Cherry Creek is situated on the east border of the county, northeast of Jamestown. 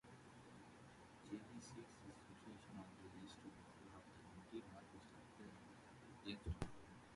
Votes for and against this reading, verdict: 0, 2, rejected